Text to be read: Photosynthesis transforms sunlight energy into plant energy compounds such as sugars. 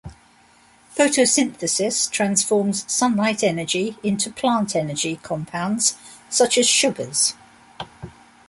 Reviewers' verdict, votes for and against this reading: accepted, 2, 0